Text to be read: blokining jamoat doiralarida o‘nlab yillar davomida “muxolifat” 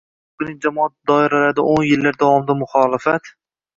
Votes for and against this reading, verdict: 0, 2, rejected